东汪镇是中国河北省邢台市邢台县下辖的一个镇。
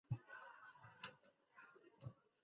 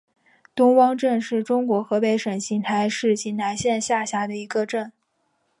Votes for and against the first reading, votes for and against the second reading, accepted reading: 0, 2, 3, 1, second